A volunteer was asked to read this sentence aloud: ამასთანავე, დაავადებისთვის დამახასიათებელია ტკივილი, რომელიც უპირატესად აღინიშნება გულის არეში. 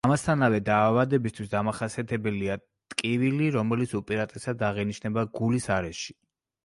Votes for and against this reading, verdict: 2, 0, accepted